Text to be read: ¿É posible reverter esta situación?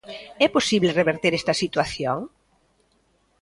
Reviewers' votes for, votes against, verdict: 2, 0, accepted